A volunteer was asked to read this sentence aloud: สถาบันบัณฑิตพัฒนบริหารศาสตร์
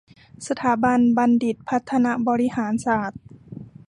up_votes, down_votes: 2, 0